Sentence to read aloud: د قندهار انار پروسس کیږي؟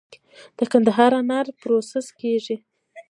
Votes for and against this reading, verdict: 2, 0, accepted